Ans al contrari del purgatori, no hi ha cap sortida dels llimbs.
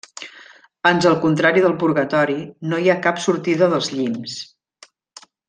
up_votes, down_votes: 2, 0